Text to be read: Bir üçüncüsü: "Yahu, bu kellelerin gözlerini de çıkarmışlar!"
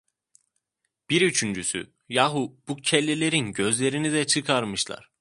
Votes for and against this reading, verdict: 2, 0, accepted